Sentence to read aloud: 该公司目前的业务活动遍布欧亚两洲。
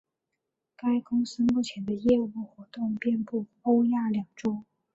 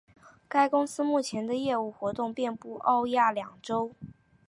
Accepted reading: second